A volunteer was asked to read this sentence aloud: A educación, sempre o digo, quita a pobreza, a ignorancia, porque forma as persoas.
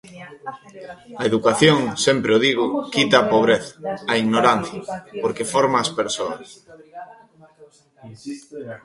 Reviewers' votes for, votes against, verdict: 0, 2, rejected